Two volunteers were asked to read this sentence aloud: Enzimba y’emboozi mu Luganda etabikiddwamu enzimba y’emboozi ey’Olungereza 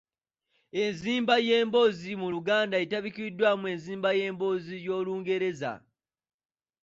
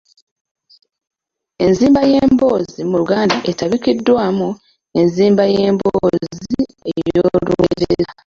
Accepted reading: first